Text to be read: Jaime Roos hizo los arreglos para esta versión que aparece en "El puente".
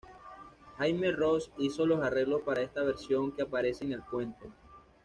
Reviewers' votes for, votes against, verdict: 2, 0, accepted